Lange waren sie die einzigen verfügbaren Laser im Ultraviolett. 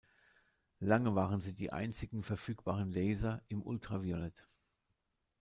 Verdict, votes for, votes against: accepted, 2, 0